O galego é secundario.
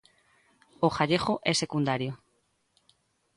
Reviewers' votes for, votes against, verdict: 0, 2, rejected